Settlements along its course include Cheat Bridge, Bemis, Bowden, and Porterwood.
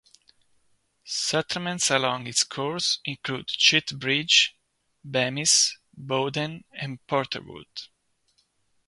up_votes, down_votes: 2, 0